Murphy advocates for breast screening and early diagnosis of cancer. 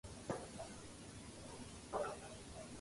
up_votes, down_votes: 0, 2